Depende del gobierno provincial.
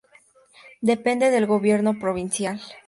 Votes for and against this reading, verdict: 2, 0, accepted